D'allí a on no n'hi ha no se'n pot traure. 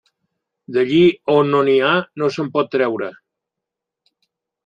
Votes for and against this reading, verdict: 0, 2, rejected